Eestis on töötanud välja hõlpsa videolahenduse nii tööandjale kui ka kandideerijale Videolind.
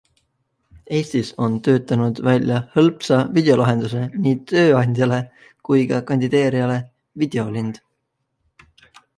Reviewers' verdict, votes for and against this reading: accepted, 2, 0